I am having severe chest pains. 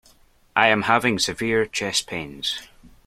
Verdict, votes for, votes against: accepted, 2, 0